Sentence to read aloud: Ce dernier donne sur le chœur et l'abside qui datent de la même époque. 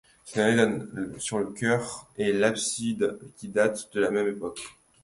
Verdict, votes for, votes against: rejected, 0, 2